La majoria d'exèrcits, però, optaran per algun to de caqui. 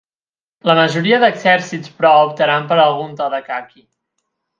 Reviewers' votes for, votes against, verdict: 8, 0, accepted